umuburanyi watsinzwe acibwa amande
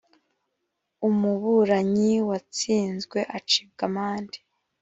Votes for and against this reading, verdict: 2, 0, accepted